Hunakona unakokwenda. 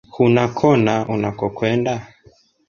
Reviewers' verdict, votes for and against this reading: rejected, 1, 2